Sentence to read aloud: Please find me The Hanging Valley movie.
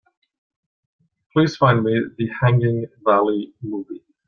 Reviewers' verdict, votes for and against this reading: accepted, 2, 0